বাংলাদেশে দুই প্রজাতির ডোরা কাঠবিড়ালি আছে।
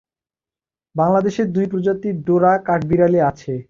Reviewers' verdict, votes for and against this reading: accepted, 2, 0